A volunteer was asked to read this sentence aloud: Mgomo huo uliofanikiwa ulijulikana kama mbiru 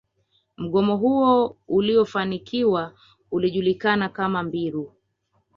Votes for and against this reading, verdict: 2, 0, accepted